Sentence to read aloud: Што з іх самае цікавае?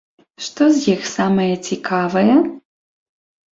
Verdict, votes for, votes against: accepted, 2, 0